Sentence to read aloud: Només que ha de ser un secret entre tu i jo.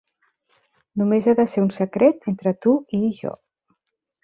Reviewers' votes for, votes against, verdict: 2, 3, rejected